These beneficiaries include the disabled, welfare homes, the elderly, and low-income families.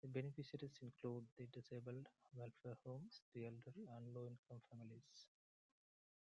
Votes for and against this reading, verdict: 0, 2, rejected